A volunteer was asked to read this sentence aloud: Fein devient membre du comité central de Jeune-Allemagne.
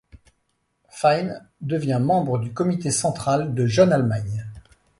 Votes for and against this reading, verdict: 2, 0, accepted